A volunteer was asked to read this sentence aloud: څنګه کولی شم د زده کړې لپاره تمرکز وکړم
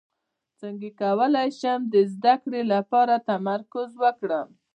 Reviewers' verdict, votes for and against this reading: accepted, 2, 0